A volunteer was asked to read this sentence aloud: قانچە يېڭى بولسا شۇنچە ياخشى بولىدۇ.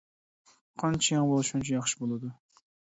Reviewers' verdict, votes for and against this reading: accepted, 2, 1